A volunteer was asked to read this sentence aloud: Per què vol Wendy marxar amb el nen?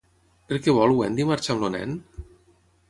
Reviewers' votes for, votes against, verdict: 3, 0, accepted